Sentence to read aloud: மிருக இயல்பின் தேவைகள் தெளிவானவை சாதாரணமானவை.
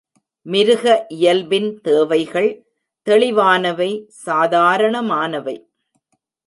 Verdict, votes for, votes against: accepted, 2, 0